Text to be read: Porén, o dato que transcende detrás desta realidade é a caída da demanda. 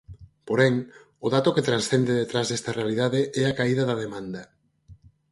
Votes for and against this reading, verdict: 4, 0, accepted